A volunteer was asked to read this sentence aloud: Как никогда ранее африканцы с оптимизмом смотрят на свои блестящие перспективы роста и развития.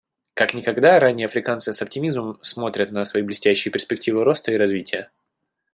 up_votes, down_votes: 2, 0